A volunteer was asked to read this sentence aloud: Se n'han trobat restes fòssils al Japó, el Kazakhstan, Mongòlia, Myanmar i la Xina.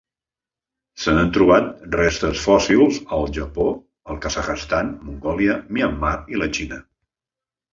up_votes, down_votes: 0, 2